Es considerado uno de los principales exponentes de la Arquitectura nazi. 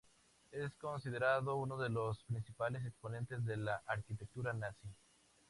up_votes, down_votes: 4, 0